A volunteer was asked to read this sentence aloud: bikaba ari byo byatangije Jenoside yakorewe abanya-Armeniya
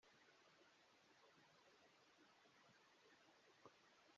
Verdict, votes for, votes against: rejected, 0, 2